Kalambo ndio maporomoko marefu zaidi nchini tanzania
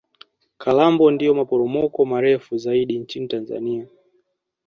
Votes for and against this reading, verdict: 2, 0, accepted